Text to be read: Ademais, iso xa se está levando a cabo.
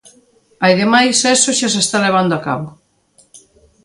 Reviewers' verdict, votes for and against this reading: rejected, 0, 2